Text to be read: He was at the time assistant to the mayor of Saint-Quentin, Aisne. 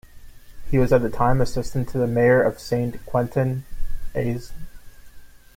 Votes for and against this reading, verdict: 0, 2, rejected